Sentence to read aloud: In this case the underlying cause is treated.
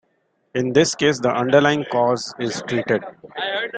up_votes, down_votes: 2, 0